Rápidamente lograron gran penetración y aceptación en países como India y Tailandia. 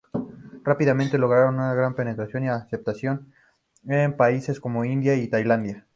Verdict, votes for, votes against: rejected, 0, 2